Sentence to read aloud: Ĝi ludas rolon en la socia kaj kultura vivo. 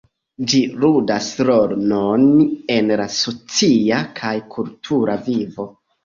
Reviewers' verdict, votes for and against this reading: rejected, 1, 2